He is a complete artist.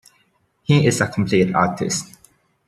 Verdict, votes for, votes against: accepted, 2, 0